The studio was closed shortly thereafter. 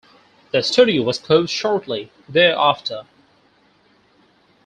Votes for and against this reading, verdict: 4, 0, accepted